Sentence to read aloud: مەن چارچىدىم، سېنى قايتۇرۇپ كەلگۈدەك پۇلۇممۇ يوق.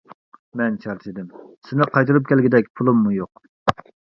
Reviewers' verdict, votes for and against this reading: accepted, 2, 0